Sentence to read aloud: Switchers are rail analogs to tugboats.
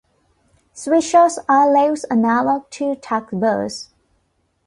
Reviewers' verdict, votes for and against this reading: rejected, 1, 2